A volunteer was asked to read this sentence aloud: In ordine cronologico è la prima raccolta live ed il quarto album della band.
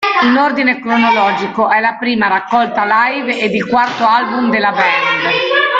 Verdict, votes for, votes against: rejected, 1, 3